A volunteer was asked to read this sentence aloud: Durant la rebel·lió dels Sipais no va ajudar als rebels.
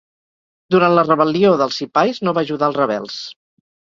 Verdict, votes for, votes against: accepted, 4, 0